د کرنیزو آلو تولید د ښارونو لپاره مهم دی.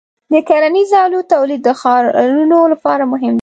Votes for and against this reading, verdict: 0, 2, rejected